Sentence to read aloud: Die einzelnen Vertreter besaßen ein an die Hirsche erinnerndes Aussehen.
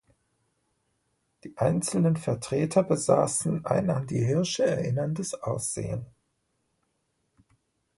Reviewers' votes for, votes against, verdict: 2, 0, accepted